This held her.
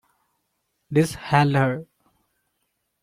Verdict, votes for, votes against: rejected, 1, 2